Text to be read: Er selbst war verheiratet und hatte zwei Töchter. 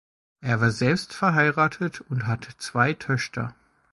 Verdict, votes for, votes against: rejected, 1, 2